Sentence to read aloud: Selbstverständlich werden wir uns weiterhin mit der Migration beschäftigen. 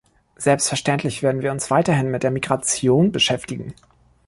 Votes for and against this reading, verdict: 2, 0, accepted